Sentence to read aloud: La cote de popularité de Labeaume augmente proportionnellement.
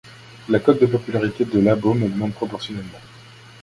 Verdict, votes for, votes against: rejected, 0, 2